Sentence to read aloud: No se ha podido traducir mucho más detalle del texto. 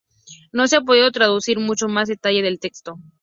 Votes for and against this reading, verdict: 0, 2, rejected